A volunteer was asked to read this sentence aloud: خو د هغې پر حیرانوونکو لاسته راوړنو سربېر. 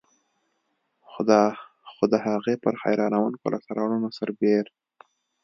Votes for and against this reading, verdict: 1, 2, rejected